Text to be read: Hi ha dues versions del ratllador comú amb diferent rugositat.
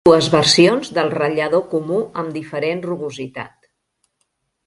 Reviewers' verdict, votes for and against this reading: rejected, 0, 2